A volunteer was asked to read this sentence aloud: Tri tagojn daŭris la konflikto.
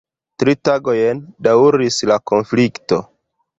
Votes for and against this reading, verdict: 0, 2, rejected